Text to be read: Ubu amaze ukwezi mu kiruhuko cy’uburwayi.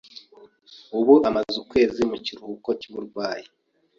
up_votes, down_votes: 3, 0